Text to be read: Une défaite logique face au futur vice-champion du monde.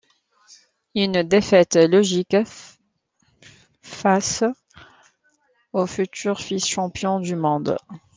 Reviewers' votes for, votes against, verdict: 1, 2, rejected